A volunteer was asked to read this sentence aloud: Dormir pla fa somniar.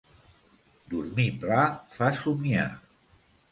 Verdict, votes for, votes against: accepted, 2, 0